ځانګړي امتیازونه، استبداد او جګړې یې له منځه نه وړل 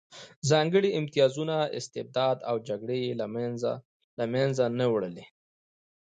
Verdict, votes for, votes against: rejected, 0, 2